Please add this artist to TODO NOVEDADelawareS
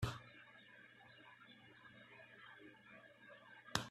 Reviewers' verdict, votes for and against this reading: rejected, 0, 2